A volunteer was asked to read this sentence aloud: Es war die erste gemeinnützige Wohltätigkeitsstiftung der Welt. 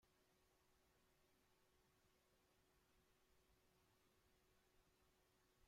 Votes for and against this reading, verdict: 0, 2, rejected